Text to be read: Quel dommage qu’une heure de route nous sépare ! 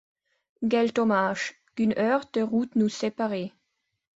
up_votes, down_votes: 0, 2